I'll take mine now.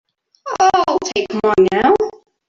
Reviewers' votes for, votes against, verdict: 0, 3, rejected